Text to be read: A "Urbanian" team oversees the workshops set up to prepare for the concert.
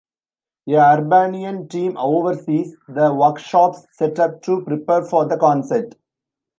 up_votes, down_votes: 0, 2